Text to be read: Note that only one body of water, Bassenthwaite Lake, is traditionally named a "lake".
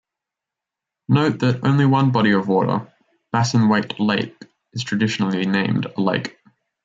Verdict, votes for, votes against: rejected, 1, 2